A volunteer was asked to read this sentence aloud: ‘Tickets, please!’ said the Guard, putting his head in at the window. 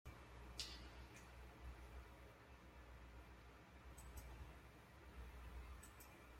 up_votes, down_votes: 0, 2